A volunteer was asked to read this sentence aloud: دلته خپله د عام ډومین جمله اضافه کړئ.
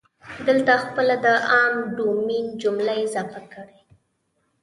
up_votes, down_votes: 0, 3